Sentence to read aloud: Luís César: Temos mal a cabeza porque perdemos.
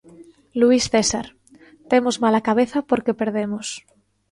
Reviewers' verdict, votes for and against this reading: accepted, 2, 0